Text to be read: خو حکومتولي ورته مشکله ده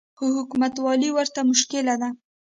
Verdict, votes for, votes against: accepted, 2, 0